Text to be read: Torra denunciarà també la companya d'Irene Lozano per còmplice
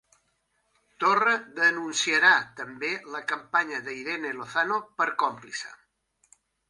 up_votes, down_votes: 3, 0